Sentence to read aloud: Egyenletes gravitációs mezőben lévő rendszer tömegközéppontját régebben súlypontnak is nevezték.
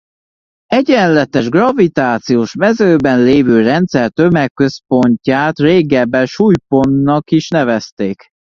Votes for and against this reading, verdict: 0, 2, rejected